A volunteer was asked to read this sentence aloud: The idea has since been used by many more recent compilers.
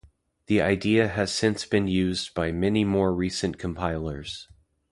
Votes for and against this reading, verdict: 2, 0, accepted